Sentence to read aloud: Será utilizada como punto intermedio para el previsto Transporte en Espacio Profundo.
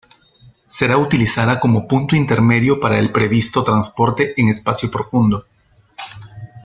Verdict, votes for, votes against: accepted, 2, 0